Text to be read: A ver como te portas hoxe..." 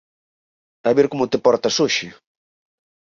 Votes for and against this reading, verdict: 4, 0, accepted